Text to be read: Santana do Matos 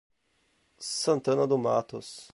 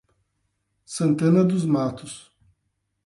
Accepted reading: first